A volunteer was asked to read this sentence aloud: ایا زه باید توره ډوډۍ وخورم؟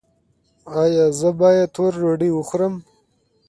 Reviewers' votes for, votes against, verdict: 2, 0, accepted